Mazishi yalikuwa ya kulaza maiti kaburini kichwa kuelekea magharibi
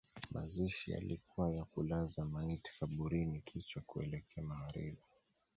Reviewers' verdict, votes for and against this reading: accepted, 2, 0